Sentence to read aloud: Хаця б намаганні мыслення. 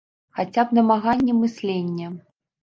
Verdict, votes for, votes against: rejected, 1, 2